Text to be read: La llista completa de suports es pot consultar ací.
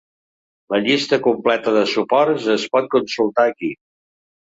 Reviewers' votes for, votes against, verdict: 1, 2, rejected